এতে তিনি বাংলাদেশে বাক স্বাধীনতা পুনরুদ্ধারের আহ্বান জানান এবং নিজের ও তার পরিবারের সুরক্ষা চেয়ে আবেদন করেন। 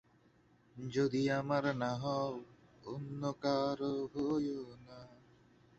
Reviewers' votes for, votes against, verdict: 1, 2, rejected